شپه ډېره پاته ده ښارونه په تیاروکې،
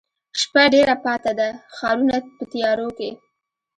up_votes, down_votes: 2, 0